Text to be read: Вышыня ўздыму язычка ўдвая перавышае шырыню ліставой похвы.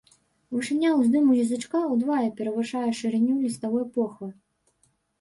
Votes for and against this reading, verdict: 1, 2, rejected